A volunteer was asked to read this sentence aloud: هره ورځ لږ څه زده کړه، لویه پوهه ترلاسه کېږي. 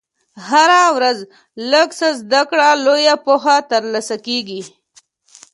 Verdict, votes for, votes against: accepted, 2, 0